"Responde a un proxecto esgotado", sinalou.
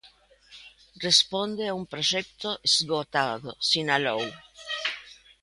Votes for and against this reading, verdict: 2, 0, accepted